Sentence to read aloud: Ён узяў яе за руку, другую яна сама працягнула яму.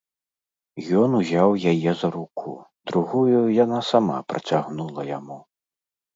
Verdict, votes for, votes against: accepted, 2, 0